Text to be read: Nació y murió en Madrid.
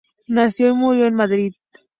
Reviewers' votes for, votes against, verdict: 2, 0, accepted